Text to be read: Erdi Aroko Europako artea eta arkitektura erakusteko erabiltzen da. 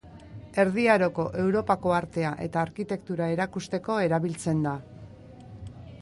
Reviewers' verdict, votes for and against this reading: rejected, 0, 2